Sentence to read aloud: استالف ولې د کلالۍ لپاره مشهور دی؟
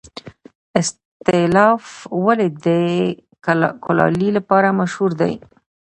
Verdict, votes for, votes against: rejected, 0, 2